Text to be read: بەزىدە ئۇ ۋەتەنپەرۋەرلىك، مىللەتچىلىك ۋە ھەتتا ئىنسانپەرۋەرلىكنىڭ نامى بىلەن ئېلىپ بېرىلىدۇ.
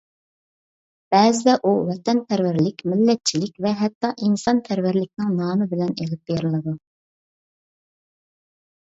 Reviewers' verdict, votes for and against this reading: accepted, 2, 0